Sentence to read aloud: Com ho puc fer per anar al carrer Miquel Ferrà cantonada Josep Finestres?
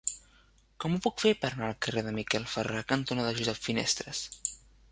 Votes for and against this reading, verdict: 0, 2, rejected